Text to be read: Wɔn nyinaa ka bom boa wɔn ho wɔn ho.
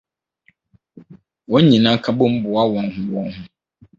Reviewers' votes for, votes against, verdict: 4, 0, accepted